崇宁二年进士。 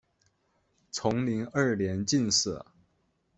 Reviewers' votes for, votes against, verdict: 2, 0, accepted